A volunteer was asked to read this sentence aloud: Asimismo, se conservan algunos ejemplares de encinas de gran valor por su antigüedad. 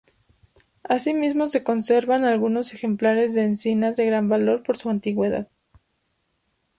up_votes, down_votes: 2, 0